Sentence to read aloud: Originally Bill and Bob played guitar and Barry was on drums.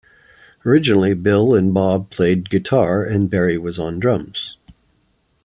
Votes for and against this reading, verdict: 2, 0, accepted